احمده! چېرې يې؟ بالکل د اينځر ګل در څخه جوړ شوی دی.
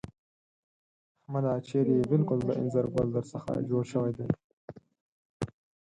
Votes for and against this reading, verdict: 0, 4, rejected